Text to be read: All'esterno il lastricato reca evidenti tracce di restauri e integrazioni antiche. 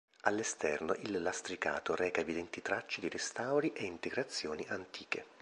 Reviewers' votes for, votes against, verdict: 2, 0, accepted